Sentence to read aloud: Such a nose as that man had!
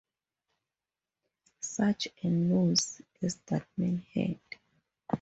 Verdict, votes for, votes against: accepted, 2, 0